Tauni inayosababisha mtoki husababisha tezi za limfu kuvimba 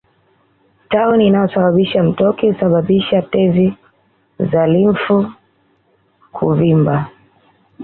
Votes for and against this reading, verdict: 2, 0, accepted